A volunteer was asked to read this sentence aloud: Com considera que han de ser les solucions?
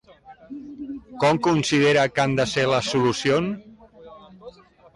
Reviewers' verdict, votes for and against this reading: rejected, 1, 2